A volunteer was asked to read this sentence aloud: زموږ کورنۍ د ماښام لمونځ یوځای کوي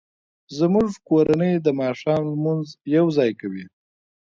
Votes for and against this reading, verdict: 1, 2, rejected